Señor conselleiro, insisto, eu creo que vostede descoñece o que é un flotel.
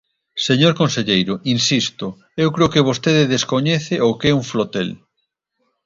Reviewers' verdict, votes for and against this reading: accepted, 2, 0